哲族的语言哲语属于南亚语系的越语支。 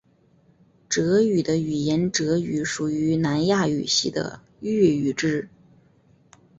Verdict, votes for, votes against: accepted, 2, 1